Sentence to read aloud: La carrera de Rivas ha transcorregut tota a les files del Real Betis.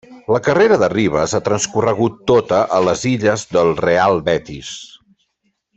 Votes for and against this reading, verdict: 0, 2, rejected